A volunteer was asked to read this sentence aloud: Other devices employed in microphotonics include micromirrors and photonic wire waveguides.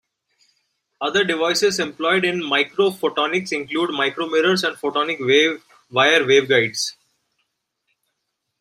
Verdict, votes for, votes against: rejected, 0, 2